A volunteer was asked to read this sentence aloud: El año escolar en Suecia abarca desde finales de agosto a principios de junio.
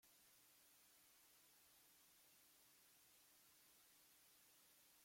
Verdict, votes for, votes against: rejected, 0, 2